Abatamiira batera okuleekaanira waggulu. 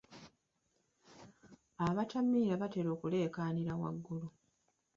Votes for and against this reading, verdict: 2, 0, accepted